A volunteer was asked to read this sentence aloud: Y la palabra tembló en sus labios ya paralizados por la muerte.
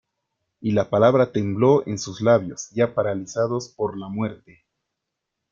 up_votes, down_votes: 2, 0